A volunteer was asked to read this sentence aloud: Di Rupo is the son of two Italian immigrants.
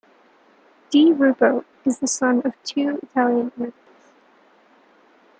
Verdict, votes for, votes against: rejected, 0, 2